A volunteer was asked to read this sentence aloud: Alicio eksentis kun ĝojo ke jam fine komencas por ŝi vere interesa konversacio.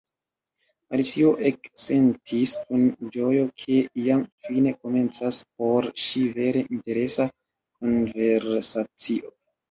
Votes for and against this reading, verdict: 1, 2, rejected